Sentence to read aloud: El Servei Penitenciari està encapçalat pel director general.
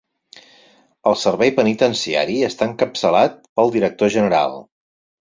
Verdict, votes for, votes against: accepted, 4, 0